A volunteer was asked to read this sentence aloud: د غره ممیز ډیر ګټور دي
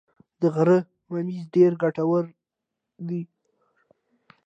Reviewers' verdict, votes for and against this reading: accepted, 2, 0